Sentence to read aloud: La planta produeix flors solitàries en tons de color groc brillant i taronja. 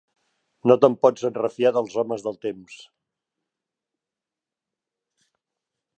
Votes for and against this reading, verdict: 0, 2, rejected